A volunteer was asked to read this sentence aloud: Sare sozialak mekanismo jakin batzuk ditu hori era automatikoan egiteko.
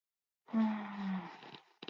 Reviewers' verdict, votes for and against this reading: accepted, 2, 0